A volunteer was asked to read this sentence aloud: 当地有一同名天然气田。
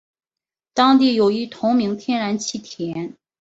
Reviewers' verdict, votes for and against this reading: accepted, 2, 0